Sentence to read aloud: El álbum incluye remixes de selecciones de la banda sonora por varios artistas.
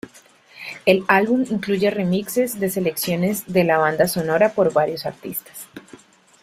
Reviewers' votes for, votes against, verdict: 2, 1, accepted